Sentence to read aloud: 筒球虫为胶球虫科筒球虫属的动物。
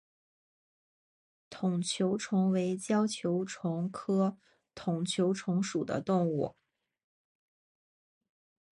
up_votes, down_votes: 3, 0